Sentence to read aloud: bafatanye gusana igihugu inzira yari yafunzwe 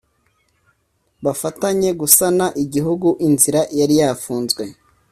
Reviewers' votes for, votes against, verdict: 2, 0, accepted